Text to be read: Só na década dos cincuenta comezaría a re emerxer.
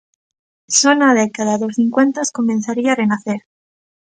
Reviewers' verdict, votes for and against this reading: rejected, 0, 2